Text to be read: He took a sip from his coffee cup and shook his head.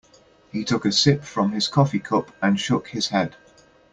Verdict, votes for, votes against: accepted, 2, 0